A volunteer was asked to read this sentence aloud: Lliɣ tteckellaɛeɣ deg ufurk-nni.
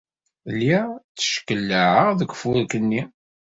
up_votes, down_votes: 2, 0